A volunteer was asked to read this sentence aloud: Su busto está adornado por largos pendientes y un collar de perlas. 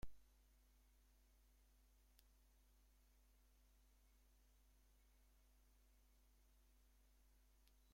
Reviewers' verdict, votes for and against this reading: rejected, 0, 2